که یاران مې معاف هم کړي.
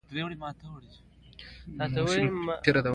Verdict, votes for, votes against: rejected, 0, 2